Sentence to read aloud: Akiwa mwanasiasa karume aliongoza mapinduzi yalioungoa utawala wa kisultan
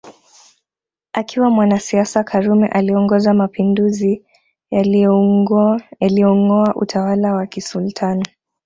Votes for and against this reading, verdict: 0, 2, rejected